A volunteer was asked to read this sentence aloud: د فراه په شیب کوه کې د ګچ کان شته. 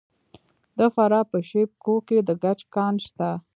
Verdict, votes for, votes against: accepted, 2, 1